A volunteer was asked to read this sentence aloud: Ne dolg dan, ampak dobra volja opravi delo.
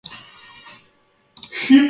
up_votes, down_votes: 0, 2